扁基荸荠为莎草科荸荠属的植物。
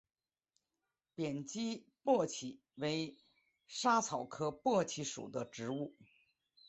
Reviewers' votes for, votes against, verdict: 1, 2, rejected